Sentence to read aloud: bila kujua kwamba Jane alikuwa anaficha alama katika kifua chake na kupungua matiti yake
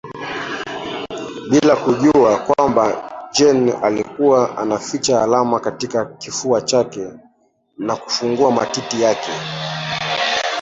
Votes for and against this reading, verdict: 1, 2, rejected